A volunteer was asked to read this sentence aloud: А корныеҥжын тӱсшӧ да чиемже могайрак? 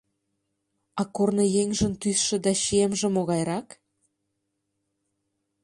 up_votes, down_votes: 2, 0